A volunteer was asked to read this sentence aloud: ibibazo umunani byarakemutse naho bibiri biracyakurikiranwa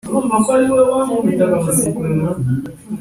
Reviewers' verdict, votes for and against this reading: rejected, 0, 2